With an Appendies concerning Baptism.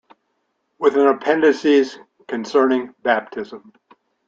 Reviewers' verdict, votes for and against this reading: rejected, 0, 2